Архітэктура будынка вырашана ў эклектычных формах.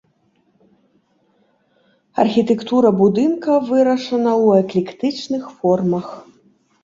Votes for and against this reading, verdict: 2, 0, accepted